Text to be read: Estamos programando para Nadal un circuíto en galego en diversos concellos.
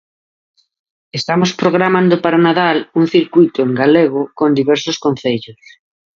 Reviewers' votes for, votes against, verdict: 0, 2, rejected